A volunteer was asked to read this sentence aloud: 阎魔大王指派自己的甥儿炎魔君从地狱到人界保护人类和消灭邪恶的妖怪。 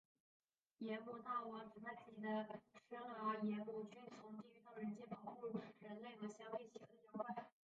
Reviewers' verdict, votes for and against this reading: rejected, 0, 5